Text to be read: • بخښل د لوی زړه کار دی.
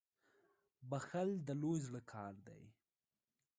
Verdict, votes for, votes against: accepted, 2, 0